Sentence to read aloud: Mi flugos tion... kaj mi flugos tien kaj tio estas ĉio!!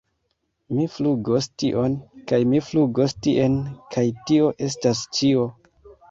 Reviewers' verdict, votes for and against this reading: accepted, 2, 0